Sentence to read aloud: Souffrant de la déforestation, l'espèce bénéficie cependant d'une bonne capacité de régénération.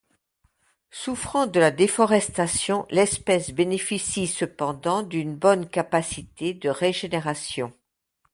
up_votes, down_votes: 2, 0